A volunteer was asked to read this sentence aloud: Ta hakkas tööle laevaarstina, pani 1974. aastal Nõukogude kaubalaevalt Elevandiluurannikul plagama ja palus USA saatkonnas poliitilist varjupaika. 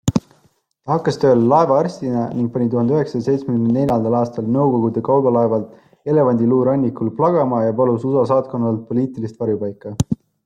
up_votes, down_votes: 0, 2